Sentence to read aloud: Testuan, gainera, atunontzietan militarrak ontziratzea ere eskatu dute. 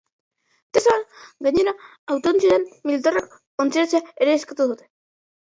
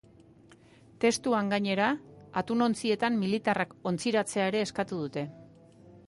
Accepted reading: second